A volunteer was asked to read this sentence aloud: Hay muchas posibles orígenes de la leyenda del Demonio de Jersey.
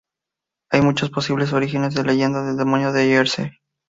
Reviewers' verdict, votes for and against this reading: rejected, 0, 2